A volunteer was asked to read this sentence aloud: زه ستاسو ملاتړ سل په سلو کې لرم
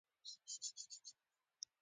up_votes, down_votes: 1, 2